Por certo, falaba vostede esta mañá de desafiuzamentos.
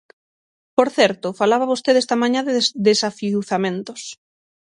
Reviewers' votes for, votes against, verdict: 0, 6, rejected